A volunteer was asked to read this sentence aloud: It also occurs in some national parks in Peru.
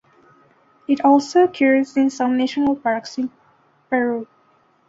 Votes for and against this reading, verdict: 1, 2, rejected